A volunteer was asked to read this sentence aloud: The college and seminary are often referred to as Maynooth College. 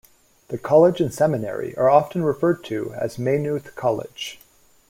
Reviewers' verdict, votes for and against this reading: accepted, 2, 0